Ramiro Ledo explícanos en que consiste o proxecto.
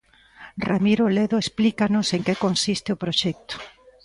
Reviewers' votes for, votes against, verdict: 2, 1, accepted